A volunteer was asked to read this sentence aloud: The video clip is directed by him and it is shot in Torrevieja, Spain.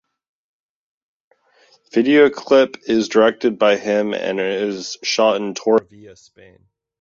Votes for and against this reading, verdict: 0, 2, rejected